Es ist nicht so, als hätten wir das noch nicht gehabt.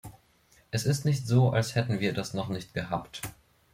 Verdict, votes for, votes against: accepted, 2, 0